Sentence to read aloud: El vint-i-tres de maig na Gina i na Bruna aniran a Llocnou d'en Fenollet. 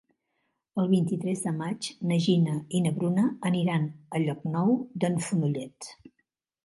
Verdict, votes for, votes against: rejected, 0, 2